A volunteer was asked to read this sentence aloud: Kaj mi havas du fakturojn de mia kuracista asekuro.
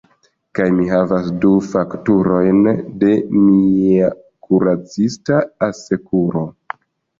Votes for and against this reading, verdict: 2, 0, accepted